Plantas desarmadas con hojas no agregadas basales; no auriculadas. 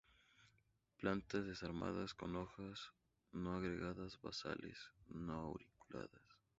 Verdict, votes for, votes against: accepted, 4, 0